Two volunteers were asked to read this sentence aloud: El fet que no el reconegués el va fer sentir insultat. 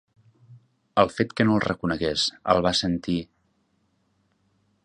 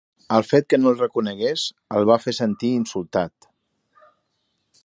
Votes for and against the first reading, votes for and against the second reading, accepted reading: 0, 2, 2, 0, second